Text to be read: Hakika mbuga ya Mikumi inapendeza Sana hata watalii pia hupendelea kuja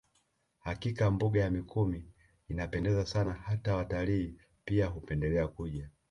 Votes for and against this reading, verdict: 2, 0, accepted